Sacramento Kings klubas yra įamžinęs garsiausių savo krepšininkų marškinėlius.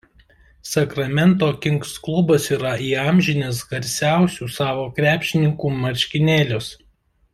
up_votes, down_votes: 2, 0